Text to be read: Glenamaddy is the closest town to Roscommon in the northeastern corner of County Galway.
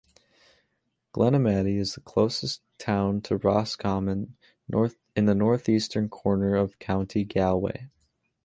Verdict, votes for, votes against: rejected, 0, 2